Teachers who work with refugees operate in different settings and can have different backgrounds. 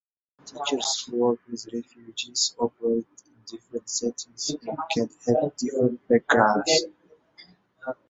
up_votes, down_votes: 0, 2